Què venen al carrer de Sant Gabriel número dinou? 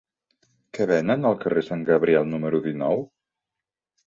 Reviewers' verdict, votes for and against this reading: rejected, 1, 2